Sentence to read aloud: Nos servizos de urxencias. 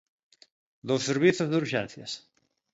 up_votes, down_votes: 2, 0